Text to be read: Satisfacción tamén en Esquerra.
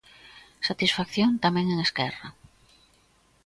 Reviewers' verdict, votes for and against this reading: accepted, 2, 0